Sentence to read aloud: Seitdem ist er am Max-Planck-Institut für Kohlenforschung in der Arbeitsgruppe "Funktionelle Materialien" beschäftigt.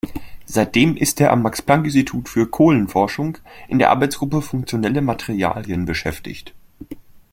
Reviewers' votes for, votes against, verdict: 2, 0, accepted